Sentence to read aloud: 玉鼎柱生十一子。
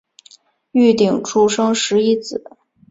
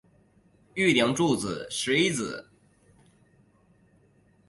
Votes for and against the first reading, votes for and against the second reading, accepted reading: 3, 0, 1, 2, first